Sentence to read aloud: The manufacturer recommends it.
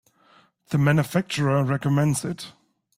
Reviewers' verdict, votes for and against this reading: accepted, 2, 0